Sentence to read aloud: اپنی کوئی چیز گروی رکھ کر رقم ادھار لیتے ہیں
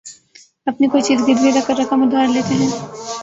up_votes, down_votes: 1, 3